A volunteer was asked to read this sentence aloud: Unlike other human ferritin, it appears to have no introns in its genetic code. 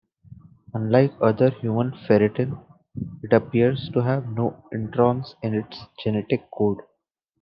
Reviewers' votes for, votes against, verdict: 0, 2, rejected